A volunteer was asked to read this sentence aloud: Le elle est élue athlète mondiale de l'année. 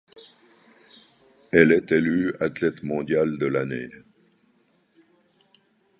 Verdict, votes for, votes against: rejected, 1, 2